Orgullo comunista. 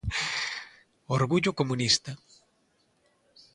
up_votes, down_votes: 2, 0